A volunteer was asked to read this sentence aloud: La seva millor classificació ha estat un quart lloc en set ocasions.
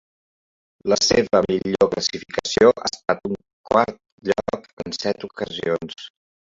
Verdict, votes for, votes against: rejected, 1, 2